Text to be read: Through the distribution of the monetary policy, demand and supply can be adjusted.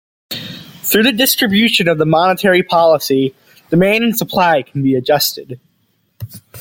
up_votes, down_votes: 2, 0